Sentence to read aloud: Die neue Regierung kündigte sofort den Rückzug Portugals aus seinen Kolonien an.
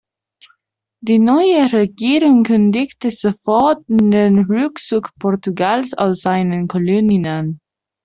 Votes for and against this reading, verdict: 1, 2, rejected